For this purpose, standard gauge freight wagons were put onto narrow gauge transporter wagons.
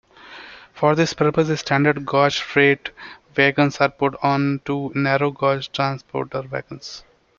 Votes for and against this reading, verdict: 0, 2, rejected